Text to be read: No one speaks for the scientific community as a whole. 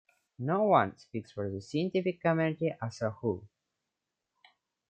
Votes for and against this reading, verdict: 2, 1, accepted